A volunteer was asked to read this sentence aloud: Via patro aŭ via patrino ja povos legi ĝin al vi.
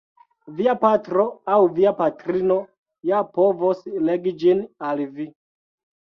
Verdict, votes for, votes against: rejected, 0, 2